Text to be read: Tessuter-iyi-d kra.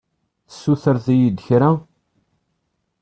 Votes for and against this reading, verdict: 1, 2, rejected